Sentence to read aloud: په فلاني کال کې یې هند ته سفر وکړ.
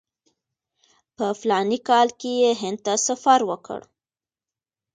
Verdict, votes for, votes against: accepted, 2, 1